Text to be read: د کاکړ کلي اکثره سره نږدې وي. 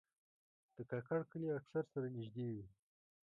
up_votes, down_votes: 0, 2